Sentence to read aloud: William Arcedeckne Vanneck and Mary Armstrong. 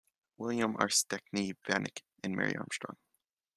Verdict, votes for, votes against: accepted, 2, 0